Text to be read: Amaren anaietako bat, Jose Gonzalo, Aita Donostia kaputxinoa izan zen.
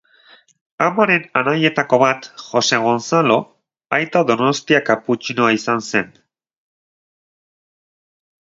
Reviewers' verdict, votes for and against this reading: accepted, 2, 0